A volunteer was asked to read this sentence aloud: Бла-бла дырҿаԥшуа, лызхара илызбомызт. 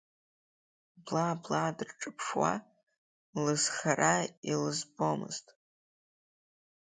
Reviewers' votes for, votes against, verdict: 2, 0, accepted